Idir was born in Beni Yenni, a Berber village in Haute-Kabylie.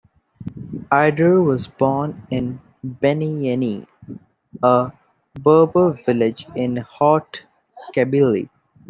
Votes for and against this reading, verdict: 1, 2, rejected